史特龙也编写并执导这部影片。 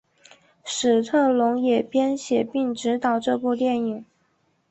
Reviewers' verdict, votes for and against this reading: accepted, 3, 1